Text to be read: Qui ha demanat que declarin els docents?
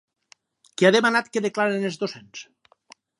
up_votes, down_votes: 2, 2